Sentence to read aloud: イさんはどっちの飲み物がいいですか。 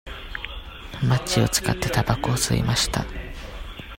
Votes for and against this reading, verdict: 0, 2, rejected